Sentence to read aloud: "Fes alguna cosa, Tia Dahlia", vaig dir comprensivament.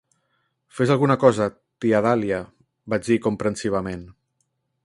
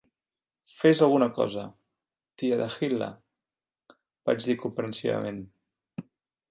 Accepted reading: first